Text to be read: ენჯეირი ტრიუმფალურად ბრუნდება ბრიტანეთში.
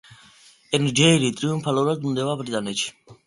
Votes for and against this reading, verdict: 2, 0, accepted